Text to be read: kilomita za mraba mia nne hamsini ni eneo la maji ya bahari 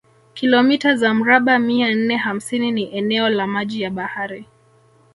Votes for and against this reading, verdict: 1, 2, rejected